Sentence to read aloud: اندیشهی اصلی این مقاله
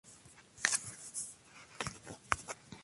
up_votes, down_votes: 0, 2